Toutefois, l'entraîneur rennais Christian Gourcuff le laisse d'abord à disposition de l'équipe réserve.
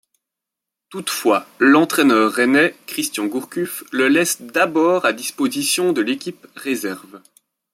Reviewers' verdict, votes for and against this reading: accepted, 2, 0